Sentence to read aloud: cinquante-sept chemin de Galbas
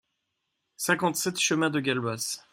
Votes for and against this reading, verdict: 0, 2, rejected